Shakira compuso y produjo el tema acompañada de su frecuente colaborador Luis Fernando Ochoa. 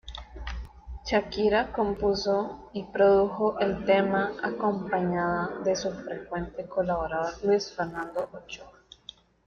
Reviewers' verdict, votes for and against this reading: rejected, 1, 2